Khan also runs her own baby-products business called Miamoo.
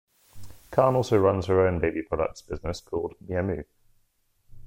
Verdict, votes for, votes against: rejected, 0, 2